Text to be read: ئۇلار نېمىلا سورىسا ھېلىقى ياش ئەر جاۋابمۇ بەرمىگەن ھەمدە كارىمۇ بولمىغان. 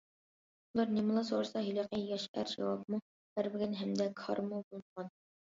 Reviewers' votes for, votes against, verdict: 0, 2, rejected